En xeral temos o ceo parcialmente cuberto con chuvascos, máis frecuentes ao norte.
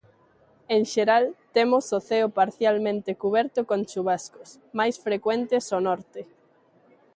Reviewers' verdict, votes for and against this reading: accepted, 2, 0